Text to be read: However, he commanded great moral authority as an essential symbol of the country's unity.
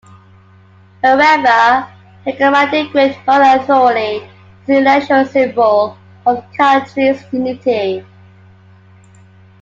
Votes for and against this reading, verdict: 0, 2, rejected